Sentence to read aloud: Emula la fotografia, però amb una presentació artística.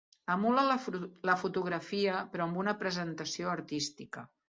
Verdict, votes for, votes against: rejected, 1, 2